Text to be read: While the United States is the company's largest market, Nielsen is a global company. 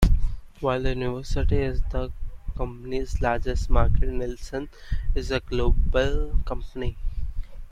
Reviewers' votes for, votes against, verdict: 0, 2, rejected